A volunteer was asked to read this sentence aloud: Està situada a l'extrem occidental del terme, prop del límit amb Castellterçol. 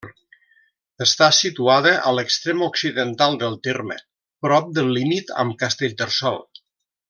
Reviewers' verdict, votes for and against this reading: accepted, 2, 0